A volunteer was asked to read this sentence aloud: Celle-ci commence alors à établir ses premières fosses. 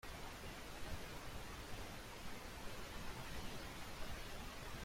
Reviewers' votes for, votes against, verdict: 1, 2, rejected